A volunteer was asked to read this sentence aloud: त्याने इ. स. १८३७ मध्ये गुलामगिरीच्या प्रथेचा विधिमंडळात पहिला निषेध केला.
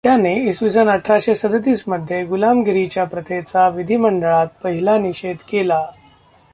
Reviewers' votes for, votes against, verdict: 0, 2, rejected